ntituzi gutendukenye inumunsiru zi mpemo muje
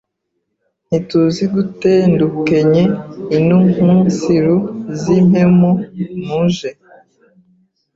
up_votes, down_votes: 1, 2